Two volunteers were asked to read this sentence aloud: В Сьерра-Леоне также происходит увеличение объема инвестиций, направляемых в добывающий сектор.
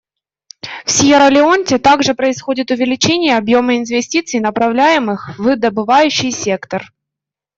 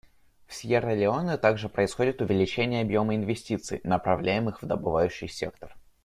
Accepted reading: second